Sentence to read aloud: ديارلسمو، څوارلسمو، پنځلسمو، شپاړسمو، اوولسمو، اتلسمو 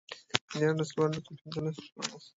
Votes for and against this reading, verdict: 0, 2, rejected